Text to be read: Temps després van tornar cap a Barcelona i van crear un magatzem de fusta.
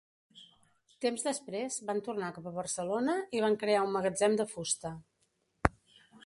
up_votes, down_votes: 2, 0